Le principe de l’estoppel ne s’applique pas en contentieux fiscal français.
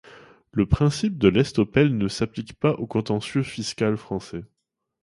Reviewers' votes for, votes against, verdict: 2, 0, accepted